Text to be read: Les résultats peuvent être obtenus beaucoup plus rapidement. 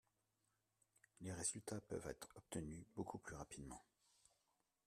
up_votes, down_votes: 1, 2